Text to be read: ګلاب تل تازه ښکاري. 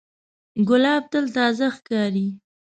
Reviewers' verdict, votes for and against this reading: accepted, 2, 0